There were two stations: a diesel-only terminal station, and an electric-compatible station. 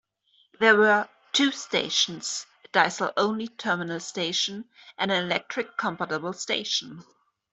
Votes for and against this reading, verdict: 0, 2, rejected